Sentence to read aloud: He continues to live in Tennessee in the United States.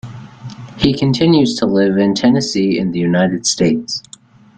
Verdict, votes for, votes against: accepted, 2, 0